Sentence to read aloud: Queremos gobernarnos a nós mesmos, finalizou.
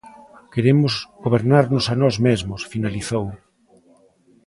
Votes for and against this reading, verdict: 0, 2, rejected